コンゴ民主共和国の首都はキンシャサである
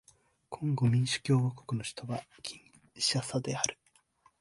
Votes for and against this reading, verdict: 2, 0, accepted